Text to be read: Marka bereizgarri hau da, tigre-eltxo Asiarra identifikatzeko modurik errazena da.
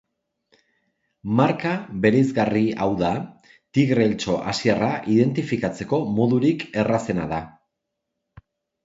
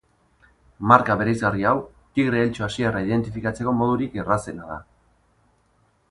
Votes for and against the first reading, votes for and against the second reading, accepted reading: 2, 0, 0, 2, first